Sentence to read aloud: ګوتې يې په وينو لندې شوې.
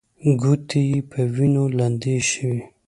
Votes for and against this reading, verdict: 2, 0, accepted